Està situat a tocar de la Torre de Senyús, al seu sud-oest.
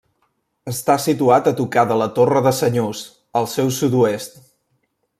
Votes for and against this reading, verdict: 2, 0, accepted